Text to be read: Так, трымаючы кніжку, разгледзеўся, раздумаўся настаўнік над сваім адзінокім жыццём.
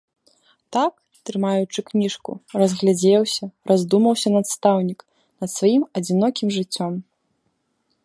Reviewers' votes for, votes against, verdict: 1, 3, rejected